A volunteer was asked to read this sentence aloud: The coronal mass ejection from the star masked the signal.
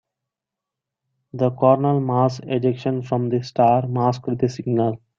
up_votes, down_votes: 3, 0